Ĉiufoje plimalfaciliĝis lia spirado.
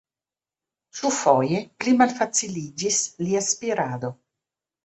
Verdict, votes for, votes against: rejected, 0, 2